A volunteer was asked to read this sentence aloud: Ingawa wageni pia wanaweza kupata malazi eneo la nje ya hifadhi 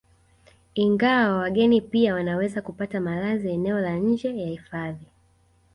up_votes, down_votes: 2, 0